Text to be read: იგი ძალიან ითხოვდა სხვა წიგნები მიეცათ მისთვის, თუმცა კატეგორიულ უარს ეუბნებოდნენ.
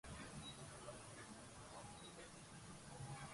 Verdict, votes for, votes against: rejected, 0, 2